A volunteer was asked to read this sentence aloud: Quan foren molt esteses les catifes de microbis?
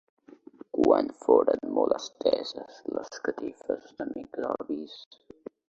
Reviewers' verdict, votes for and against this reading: rejected, 0, 2